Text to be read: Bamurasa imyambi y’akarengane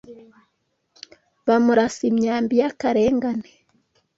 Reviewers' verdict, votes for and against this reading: accepted, 2, 0